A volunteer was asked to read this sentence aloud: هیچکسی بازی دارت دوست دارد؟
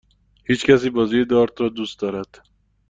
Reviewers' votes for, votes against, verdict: 1, 2, rejected